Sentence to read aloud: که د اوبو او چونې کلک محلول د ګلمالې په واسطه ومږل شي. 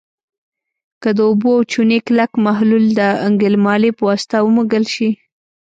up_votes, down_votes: 2, 0